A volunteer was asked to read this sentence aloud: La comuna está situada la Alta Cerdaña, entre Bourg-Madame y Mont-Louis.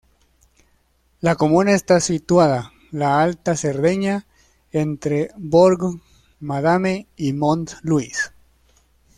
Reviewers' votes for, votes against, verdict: 0, 2, rejected